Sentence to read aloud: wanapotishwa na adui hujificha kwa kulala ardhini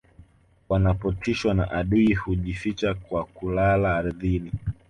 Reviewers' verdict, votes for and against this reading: accepted, 3, 0